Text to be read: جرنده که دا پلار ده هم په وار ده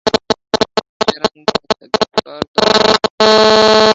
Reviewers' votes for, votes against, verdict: 0, 2, rejected